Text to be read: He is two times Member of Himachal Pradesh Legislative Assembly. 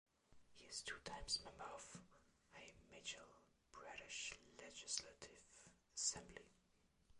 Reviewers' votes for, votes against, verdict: 0, 2, rejected